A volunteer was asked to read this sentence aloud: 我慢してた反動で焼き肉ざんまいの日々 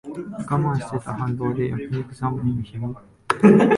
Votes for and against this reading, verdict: 1, 2, rejected